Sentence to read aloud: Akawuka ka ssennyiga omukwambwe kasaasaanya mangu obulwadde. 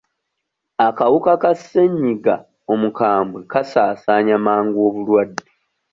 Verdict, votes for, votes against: accepted, 2, 0